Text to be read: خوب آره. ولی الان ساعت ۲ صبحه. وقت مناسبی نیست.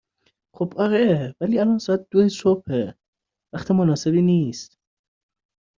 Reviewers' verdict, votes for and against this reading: rejected, 0, 2